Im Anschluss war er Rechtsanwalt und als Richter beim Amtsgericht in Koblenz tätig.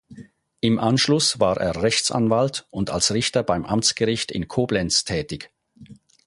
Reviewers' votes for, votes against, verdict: 4, 0, accepted